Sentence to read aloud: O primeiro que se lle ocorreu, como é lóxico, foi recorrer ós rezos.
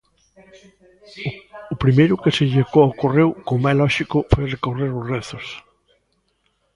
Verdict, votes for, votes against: accepted, 2, 0